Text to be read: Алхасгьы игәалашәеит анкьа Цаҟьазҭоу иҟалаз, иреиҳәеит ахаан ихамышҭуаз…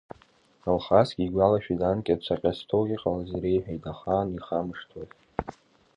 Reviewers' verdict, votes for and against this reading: accepted, 2, 1